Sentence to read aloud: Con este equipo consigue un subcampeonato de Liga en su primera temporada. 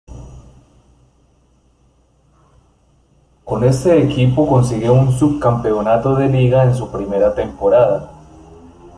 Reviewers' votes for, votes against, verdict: 2, 0, accepted